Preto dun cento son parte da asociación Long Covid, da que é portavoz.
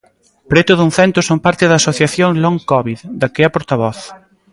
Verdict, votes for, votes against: accepted, 2, 0